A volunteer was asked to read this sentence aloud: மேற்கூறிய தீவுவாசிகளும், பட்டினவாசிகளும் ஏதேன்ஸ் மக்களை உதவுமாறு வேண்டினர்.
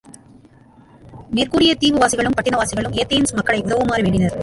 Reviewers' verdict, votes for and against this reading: rejected, 1, 2